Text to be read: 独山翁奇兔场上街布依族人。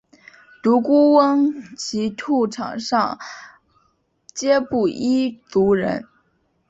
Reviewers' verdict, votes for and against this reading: rejected, 0, 2